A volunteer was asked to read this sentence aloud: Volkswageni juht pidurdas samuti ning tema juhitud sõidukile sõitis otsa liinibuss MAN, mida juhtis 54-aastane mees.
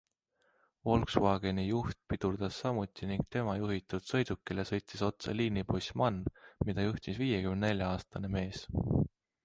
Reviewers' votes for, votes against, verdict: 0, 2, rejected